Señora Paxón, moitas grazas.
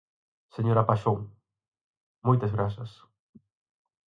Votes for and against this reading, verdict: 4, 0, accepted